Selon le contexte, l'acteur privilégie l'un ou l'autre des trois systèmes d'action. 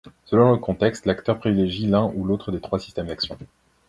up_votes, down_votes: 2, 0